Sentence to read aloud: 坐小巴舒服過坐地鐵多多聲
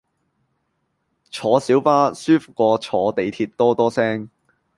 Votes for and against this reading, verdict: 0, 2, rejected